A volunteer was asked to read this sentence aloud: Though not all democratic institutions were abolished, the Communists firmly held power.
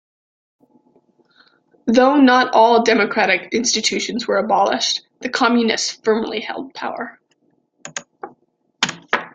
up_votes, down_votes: 2, 0